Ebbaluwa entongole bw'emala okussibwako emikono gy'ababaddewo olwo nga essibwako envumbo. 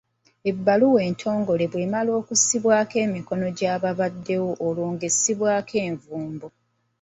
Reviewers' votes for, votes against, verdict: 0, 2, rejected